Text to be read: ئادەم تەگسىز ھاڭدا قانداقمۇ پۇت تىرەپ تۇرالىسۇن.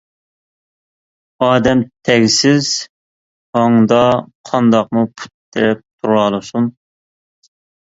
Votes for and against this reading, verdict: 2, 1, accepted